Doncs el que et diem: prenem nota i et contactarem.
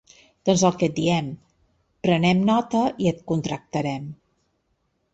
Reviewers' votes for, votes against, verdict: 2, 1, accepted